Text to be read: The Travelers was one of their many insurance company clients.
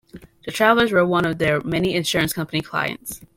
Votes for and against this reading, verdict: 2, 0, accepted